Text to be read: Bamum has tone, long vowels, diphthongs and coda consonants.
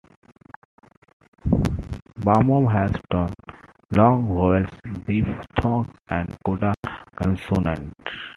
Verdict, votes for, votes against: rejected, 1, 2